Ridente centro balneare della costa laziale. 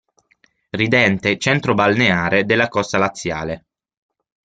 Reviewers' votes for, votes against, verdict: 6, 0, accepted